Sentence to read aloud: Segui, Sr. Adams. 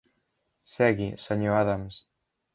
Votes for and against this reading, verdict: 2, 0, accepted